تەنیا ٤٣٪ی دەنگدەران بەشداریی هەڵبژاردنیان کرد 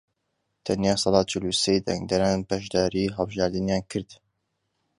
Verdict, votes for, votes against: rejected, 0, 2